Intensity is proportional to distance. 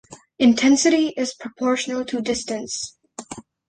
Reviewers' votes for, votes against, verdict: 2, 0, accepted